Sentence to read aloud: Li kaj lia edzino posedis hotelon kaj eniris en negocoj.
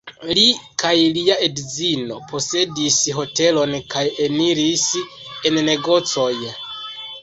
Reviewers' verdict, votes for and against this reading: accepted, 2, 0